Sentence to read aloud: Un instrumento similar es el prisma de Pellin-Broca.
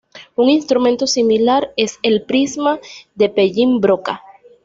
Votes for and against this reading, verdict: 2, 0, accepted